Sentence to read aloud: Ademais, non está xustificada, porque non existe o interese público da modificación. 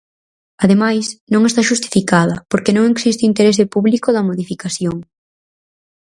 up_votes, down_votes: 4, 0